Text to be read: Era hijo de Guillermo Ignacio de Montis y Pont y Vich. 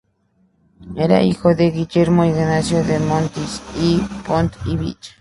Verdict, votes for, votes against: rejected, 2, 2